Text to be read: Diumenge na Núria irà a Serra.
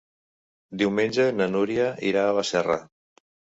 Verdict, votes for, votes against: rejected, 1, 2